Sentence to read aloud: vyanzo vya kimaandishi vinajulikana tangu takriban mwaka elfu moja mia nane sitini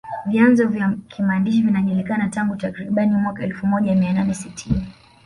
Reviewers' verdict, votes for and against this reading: rejected, 1, 2